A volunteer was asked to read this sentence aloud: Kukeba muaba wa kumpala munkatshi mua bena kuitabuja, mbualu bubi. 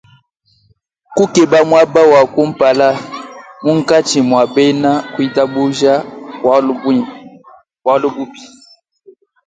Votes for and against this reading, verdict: 1, 2, rejected